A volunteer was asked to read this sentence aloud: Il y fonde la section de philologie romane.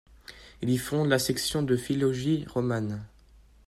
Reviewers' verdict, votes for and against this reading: rejected, 1, 2